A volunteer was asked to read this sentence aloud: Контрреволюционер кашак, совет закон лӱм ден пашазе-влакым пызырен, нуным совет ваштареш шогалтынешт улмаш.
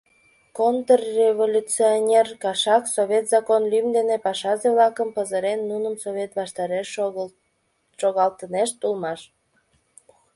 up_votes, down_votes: 1, 2